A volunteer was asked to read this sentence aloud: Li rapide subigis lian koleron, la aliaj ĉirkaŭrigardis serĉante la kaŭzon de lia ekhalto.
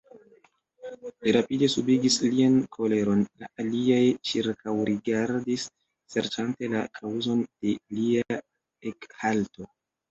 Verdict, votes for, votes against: accepted, 2, 0